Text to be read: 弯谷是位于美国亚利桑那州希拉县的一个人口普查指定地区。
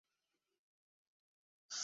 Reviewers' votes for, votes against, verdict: 0, 4, rejected